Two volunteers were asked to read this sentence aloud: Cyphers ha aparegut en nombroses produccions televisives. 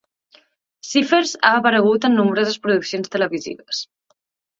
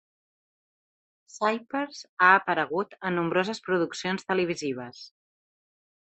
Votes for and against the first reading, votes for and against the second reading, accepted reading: 2, 0, 1, 2, first